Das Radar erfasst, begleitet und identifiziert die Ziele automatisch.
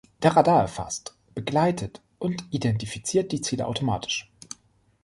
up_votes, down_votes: 1, 4